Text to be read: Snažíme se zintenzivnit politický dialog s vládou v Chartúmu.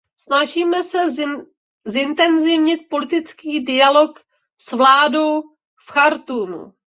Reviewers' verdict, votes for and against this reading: rejected, 0, 2